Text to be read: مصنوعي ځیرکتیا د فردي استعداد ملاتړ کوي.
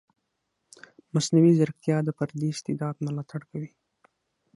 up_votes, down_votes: 6, 0